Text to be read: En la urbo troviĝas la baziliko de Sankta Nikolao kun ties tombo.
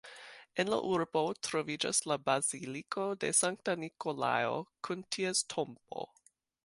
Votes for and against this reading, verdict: 1, 4, rejected